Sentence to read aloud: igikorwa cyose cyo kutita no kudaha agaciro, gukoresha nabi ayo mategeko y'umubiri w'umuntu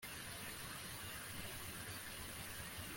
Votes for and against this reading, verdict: 0, 2, rejected